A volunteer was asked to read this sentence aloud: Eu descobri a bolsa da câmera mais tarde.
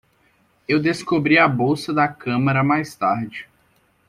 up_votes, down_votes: 1, 2